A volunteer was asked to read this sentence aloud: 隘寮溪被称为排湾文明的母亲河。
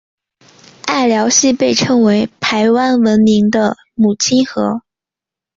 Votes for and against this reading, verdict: 5, 0, accepted